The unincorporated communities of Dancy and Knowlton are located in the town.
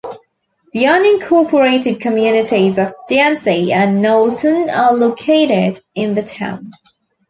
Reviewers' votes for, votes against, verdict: 2, 0, accepted